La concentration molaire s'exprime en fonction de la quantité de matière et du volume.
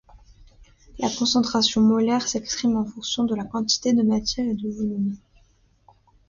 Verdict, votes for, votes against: rejected, 0, 2